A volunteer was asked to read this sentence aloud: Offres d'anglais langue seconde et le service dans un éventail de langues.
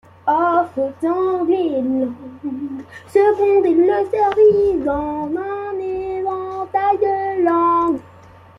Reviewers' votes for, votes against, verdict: 0, 2, rejected